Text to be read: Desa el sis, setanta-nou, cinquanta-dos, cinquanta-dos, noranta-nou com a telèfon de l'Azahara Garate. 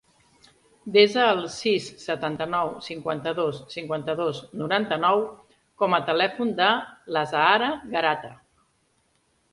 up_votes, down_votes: 2, 0